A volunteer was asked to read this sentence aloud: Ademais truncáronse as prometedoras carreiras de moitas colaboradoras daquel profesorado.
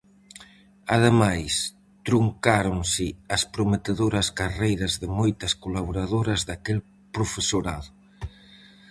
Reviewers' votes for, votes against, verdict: 4, 0, accepted